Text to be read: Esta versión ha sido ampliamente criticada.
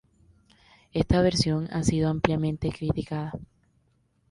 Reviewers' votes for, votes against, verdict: 2, 0, accepted